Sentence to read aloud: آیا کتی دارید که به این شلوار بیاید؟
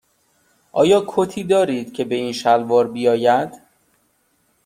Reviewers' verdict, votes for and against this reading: accepted, 2, 0